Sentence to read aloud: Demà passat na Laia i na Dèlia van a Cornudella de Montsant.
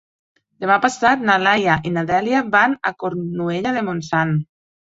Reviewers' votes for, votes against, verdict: 2, 3, rejected